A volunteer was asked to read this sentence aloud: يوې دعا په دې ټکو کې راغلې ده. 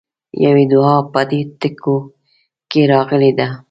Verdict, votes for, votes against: rejected, 1, 2